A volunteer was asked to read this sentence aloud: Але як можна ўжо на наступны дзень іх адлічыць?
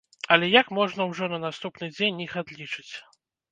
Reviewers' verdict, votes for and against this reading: rejected, 1, 2